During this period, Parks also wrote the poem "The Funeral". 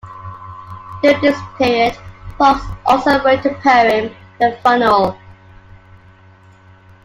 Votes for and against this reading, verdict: 0, 2, rejected